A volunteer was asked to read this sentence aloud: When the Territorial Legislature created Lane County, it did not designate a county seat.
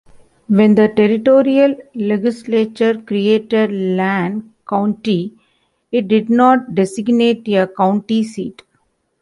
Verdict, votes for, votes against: rejected, 1, 2